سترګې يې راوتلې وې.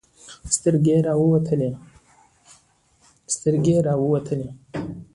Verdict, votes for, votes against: accepted, 2, 1